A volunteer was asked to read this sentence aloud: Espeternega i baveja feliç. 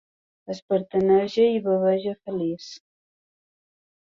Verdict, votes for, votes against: rejected, 0, 3